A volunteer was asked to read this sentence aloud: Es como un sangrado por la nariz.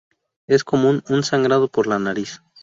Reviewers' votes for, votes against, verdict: 2, 2, rejected